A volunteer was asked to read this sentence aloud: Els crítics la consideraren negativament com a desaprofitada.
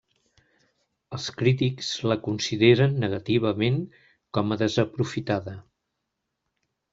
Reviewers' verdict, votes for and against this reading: rejected, 0, 2